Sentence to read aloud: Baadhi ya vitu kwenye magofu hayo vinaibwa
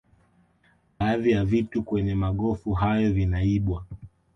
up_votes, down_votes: 2, 0